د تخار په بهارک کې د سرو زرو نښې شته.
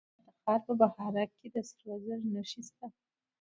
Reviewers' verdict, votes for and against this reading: rejected, 1, 2